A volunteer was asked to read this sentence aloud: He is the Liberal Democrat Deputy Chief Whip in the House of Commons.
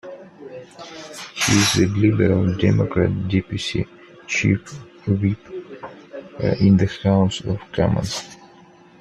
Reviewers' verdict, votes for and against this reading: rejected, 0, 2